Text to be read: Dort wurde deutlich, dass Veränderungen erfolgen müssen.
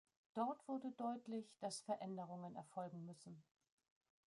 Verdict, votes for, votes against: rejected, 0, 2